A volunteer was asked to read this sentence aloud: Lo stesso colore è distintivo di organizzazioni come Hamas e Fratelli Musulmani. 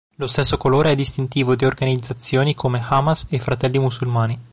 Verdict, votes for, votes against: accepted, 2, 0